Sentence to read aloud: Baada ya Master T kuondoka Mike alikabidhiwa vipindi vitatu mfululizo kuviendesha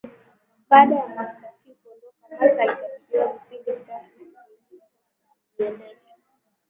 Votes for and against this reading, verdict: 1, 2, rejected